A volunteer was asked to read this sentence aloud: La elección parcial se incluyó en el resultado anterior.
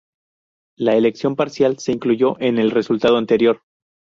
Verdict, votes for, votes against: rejected, 0, 2